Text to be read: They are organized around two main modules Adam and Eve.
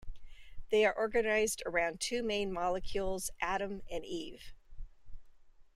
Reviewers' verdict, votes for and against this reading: rejected, 0, 2